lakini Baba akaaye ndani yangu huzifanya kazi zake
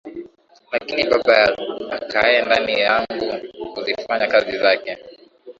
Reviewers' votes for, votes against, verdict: 2, 2, rejected